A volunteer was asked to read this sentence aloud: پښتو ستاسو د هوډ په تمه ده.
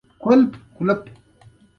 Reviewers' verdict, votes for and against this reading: accepted, 2, 0